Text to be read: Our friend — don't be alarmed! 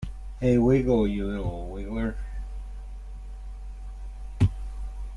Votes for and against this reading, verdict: 0, 2, rejected